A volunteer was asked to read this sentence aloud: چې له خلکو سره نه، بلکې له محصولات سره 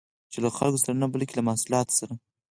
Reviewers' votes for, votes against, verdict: 4, 2, accepted